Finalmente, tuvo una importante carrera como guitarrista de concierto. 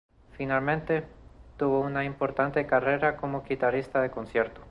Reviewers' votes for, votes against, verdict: 2, 0, accepted